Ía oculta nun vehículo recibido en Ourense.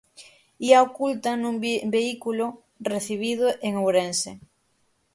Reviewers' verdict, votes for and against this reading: rejected, 0, 6